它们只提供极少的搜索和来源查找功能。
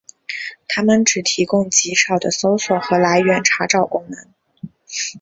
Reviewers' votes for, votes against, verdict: 4, 0, accepted